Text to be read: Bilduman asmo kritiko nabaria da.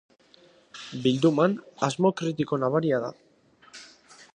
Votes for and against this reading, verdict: 2, 0, accepted